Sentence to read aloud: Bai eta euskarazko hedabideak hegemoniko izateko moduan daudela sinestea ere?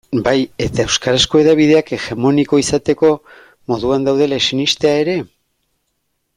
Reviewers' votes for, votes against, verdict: 2, 1, accepted